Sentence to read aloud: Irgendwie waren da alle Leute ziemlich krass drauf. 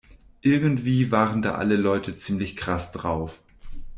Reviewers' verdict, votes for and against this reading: accepted, 2, 0